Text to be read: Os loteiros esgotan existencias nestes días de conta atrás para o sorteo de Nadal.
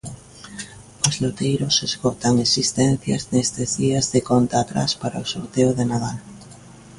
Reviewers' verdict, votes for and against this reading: accepted, 2, 0